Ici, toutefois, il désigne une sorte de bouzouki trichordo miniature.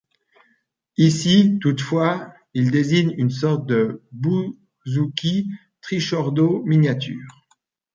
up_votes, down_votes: 0, 2